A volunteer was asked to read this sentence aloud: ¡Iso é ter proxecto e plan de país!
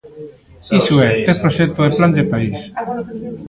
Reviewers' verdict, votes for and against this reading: accepted, 2, 1